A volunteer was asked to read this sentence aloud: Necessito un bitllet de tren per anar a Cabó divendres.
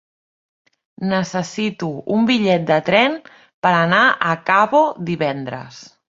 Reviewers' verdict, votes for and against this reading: rejected, 1, 2